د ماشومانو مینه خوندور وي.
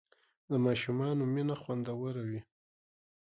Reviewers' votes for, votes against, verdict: 1, 2, rejected